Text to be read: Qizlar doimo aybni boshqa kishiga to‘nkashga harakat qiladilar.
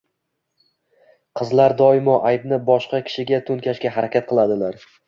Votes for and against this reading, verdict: 2, 0, accepted